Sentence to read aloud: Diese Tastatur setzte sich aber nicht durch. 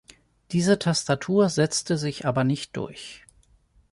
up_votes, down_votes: 2, 0